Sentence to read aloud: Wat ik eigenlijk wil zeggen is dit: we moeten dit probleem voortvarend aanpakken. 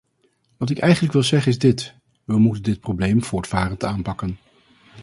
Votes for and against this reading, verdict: 4, 0, accepted